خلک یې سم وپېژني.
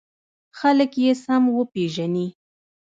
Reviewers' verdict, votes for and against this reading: rejected, 0, 2